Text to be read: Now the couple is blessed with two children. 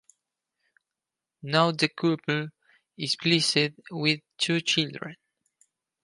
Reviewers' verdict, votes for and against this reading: rejected, 0, 4